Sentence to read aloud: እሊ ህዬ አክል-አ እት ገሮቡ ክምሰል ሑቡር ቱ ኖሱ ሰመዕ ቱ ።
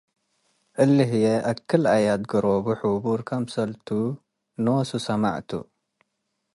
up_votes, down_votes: 1, 2